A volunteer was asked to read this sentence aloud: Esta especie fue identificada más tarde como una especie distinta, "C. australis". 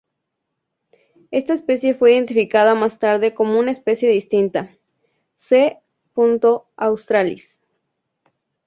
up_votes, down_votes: 2, 0